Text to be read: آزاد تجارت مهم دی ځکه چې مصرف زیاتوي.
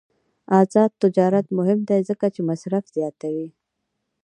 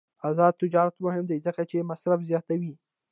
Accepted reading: first